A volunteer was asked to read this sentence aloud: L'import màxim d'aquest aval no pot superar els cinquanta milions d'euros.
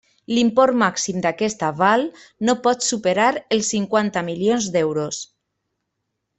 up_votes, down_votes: 2, 0